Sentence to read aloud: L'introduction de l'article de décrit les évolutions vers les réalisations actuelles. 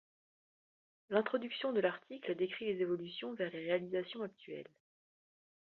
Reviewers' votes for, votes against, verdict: 0, 2, rejected